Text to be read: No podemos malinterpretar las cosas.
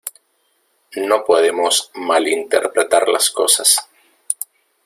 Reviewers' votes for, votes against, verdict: 2, 0, accepted